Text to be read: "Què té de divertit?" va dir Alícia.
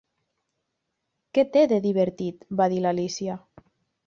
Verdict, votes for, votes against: rejected, 1, 2